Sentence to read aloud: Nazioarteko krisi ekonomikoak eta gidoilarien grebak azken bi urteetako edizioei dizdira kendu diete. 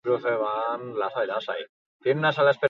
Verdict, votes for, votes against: rejected, 0, 4